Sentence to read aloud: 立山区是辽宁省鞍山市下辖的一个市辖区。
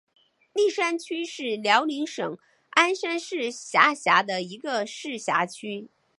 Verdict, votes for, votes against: accepted, 2, 1